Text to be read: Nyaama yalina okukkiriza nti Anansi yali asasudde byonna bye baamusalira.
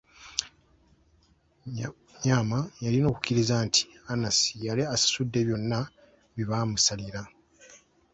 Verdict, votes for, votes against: rejected, 1, 2